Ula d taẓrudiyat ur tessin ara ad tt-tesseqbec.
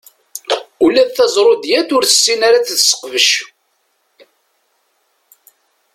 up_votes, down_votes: 1, 2